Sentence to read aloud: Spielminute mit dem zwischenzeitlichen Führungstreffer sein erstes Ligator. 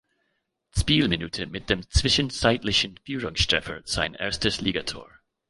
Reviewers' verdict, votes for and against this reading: rejected, 1, 2